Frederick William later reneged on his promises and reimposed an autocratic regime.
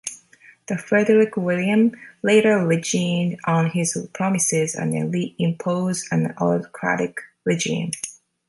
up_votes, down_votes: 1, 2